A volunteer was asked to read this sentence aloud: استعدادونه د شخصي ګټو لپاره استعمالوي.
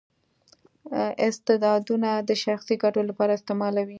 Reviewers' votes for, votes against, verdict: 2, 0, accepted